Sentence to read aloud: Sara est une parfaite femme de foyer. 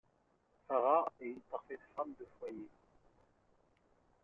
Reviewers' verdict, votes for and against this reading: accepted, 2, 0